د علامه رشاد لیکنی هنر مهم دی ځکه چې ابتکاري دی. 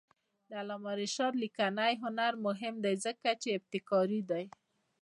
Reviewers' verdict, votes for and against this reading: accepted, 2, 0